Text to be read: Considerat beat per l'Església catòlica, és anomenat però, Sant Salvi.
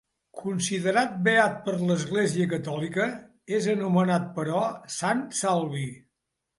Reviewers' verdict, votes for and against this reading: accepted, 2, 0